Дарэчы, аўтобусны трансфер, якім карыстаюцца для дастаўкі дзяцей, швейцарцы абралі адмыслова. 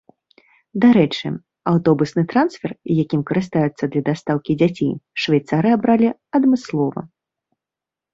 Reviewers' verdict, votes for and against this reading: rejected, 1, 2